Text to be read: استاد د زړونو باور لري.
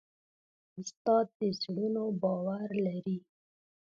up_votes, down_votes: 2, 1